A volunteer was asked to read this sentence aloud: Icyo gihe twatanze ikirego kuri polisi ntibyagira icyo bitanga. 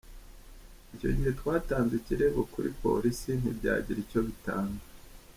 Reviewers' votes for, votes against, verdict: 2, 0, accepted